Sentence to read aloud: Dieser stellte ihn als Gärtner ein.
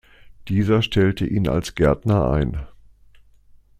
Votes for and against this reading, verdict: 2, 0, accepted